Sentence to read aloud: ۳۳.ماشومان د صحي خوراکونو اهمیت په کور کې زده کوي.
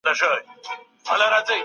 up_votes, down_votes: 0, 2